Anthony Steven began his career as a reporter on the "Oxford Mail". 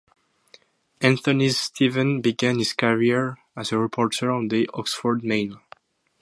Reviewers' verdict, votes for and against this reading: accepted, 2, 0